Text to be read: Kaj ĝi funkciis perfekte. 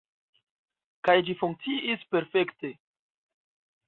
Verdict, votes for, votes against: accepted, 2, 1